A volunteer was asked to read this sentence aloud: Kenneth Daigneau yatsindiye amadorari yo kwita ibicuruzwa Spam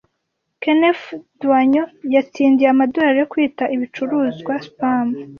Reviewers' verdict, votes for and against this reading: accepted, 2, 0